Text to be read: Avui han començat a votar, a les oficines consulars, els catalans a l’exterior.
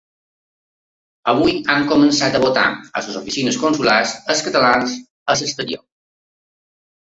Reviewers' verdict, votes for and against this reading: rejected, 2, 5